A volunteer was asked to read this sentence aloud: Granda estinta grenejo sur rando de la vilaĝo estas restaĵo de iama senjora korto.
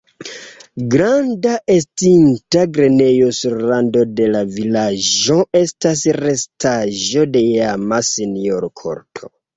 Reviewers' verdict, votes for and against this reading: accepted, 2, 0